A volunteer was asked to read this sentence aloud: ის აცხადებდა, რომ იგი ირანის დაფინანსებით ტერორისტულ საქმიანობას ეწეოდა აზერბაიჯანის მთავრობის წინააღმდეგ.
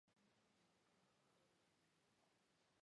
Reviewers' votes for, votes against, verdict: 0, 2, rejected